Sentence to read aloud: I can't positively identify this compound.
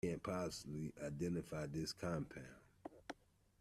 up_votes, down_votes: 0, 2